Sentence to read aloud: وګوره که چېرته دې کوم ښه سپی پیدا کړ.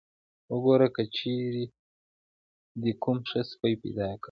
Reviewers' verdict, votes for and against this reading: rejected, 0, 2